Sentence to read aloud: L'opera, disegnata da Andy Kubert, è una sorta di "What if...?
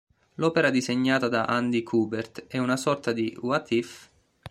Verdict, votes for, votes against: accepted, 2, 1